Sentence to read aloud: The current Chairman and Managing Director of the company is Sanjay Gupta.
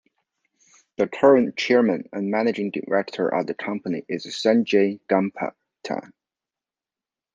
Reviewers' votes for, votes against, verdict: 1, 2, rejected